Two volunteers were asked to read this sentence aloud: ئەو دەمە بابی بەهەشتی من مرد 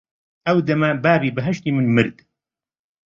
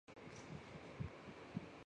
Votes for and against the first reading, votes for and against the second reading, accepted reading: 2, 0, 0, 4, first